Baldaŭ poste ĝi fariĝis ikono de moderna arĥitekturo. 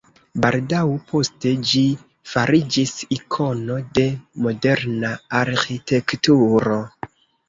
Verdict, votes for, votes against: accepted, 2, 0